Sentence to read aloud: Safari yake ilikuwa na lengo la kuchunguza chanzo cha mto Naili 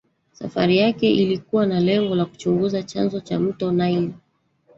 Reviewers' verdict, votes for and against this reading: accepted, 4, 1